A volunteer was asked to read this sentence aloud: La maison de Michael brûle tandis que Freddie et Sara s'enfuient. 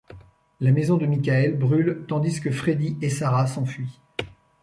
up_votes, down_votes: 2, 0